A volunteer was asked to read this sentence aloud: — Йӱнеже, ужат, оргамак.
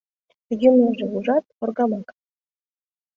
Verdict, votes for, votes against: rejected, 1, 3